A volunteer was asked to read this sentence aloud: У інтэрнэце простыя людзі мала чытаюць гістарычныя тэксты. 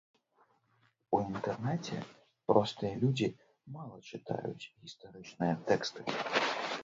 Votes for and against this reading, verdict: 1, 2, rejected